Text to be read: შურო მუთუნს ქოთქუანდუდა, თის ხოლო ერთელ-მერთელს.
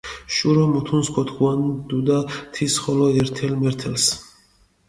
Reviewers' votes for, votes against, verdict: 1, 2, rejected